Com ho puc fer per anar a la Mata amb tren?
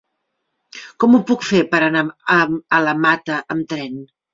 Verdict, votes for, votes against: rejected, 0, 2